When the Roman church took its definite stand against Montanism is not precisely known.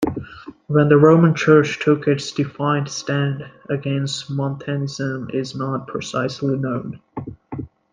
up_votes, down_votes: 1, 2